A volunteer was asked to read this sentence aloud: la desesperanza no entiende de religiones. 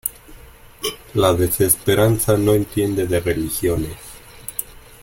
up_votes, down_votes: 2, 1